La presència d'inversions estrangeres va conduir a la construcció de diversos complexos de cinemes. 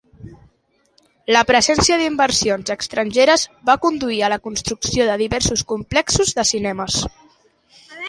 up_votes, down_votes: 2, 0